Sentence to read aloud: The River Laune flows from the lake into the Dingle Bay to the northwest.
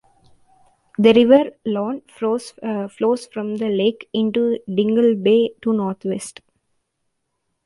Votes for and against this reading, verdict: 1, 2, rejected